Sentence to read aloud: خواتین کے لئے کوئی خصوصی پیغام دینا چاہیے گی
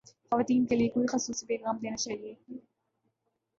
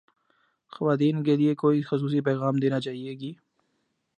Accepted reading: second